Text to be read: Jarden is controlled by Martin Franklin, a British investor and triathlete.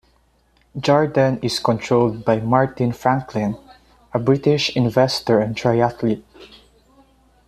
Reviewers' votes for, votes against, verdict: 2, 0, accepted